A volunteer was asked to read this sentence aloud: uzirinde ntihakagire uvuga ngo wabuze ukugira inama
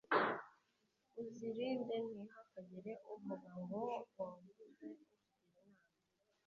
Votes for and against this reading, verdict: 1, 2, rejected